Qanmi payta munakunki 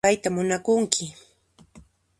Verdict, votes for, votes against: accepted, 2, 0